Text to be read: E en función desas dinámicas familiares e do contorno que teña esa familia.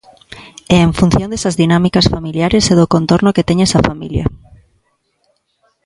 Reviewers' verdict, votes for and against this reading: accepted, 2, 0